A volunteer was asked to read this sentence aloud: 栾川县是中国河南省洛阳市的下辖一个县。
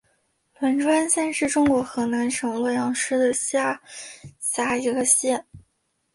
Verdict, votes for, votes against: rejected, 0, 2